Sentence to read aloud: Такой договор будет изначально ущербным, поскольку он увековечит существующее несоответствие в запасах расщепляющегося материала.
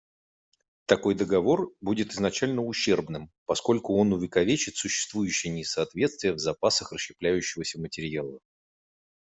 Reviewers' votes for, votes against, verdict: 2, 0, accepted